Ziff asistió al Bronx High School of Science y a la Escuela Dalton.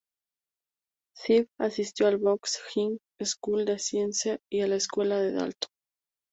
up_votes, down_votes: 0, 2